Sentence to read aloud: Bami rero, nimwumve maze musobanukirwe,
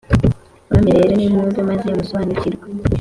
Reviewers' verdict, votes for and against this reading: accepted, 2, 0